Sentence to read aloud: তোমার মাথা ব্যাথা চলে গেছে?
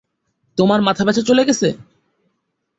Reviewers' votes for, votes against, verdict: 1, 3, rejected